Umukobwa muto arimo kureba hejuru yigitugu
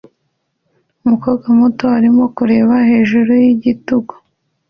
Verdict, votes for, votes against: accepted, 2, 0